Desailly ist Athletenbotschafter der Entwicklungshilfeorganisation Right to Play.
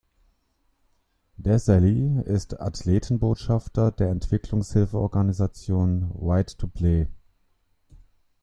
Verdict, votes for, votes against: rejected, 0, 2